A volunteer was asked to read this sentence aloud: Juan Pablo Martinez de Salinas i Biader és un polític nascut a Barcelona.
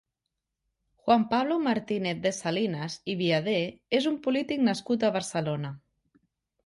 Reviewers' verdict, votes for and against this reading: accepted, 4, 0